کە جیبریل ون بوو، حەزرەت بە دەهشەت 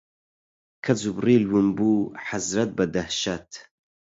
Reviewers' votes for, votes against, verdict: 0, 4, rejected